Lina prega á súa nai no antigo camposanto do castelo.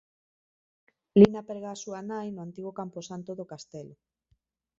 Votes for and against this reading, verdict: 0, 2, rejected